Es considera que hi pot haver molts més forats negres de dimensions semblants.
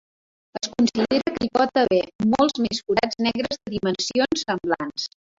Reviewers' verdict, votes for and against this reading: rejected, 0, 2